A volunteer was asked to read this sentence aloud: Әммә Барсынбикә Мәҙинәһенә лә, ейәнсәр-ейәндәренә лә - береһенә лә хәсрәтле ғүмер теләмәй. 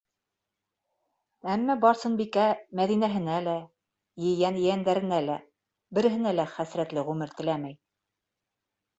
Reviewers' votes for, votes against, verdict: 1, 2, rejected